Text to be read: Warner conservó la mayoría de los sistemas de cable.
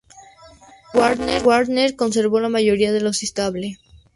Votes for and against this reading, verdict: 0, 2, rejected